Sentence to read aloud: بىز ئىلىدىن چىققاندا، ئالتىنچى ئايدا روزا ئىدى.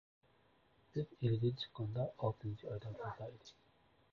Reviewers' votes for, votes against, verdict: 0, 2, rejected